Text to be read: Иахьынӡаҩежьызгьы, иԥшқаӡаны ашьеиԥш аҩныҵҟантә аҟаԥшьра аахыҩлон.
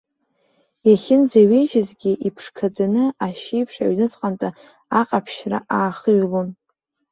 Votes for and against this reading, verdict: 0, 2, rejected